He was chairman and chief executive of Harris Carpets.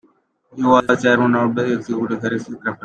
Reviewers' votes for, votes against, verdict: 0, 2, rejected